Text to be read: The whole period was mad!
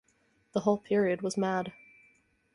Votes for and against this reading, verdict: 4, 0, accepted